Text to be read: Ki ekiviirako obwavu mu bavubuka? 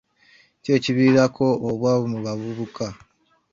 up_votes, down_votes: 2, 1